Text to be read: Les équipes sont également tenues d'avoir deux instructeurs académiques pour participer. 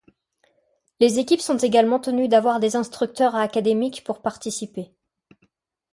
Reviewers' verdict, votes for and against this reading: rejected, 1, 2